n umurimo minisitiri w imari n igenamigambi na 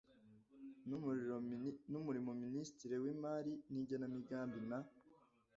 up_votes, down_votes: 1, 2